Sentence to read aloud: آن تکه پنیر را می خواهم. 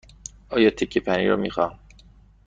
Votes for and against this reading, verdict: 1, 2, rejected